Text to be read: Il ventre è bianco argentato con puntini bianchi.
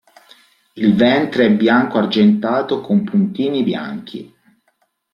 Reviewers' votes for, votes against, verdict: 2, 0, accepted